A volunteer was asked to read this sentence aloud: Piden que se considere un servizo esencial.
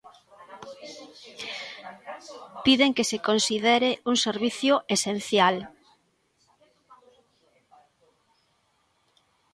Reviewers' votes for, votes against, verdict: 0, 2, rejected